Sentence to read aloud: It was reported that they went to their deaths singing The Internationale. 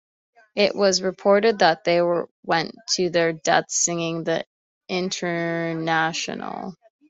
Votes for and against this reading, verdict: 0, 2, rejected